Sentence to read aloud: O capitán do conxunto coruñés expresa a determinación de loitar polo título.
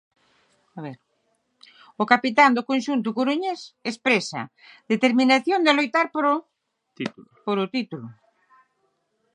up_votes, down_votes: 0, 6